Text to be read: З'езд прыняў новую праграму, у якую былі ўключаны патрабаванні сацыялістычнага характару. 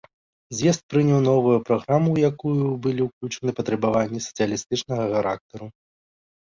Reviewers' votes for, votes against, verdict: 1, 2, rejected